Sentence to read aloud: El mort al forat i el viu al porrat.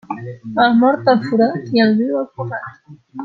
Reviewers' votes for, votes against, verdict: 0, 2, rejected